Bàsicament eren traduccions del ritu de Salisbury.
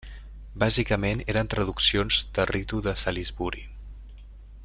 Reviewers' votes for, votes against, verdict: 0, 2, rejected